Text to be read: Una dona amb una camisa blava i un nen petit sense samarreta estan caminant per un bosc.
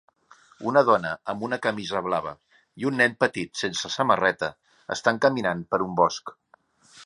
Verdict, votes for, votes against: accepted, 3, 0